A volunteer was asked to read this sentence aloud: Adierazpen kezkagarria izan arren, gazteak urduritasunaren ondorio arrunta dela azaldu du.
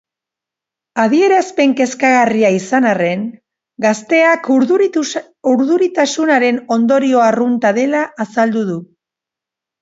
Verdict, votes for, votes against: rejected, 0, 2